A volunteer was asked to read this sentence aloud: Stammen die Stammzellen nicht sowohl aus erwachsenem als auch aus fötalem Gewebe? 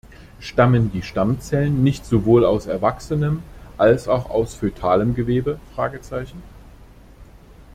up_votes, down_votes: 0, 2